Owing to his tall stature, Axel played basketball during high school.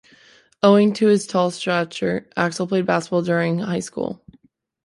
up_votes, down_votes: 1, 2